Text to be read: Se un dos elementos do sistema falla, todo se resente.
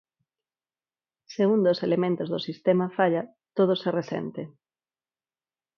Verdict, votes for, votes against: accepted, 4, 0